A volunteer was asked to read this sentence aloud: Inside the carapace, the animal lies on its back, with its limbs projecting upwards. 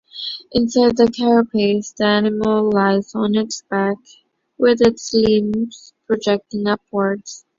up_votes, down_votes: 3, 0